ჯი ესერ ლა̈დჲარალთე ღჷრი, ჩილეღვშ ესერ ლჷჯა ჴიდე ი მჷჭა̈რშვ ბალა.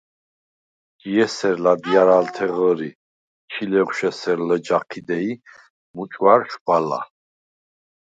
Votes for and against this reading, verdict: 0, 4, rejected